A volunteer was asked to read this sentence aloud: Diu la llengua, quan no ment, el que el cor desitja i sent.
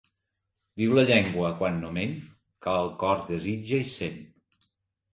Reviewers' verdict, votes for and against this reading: rejected, 0, 2